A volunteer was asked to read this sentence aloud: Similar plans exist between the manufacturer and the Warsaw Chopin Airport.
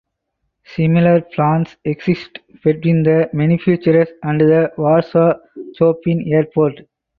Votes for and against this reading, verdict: 4, 0, accepted